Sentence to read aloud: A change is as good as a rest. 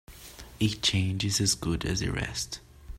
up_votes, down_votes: 2, 0